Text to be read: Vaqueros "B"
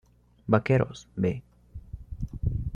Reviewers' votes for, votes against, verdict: 2, 0, accepted